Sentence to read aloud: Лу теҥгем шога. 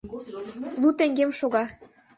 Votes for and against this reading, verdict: 1, 2, rejected